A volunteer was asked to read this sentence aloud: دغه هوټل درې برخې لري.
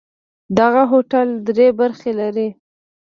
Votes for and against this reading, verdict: 1, 2, rejected